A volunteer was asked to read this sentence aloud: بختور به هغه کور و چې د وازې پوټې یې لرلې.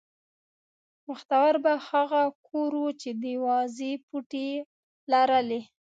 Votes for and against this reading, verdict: 2, 0, accepted